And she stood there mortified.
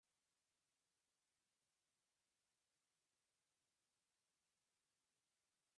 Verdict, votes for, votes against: rejected, 0, 2